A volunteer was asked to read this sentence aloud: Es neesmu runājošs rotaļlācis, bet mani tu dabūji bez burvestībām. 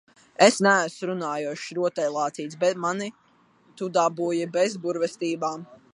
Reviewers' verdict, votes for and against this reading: rejected, 1, 2